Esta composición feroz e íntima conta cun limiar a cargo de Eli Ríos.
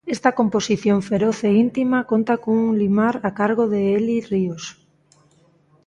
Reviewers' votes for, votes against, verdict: 0, 2, rejected